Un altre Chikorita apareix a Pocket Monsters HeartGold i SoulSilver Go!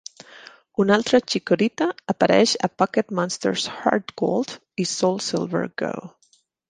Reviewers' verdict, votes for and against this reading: accepted, 2, 0